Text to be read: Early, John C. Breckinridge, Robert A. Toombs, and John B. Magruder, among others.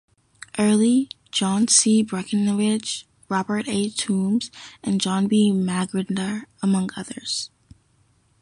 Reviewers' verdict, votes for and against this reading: accepted, 2, 0